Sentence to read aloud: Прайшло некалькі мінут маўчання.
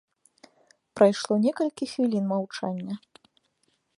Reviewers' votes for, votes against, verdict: 1, 2, rejected